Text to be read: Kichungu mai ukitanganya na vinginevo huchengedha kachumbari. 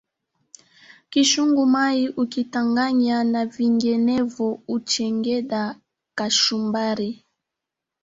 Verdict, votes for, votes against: rejected, 1, 2